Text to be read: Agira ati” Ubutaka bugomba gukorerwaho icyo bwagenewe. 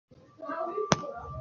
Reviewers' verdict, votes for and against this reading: rejected, 0, 2